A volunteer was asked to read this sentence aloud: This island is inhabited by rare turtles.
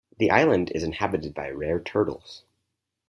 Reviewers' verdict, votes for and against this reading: rejected, 0, 4